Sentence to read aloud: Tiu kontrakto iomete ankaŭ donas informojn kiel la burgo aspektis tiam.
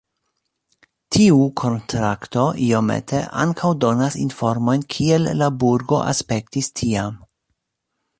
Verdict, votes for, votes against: accepted, 2, 0